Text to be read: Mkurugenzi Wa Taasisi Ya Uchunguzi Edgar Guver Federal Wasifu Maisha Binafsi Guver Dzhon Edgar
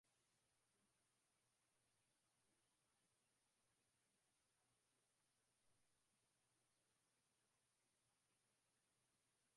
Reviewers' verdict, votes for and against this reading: rejected, 0, 2